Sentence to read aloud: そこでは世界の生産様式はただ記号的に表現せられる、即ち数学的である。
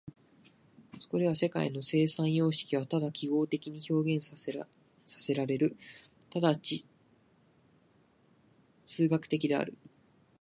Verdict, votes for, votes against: rejected, 0, 2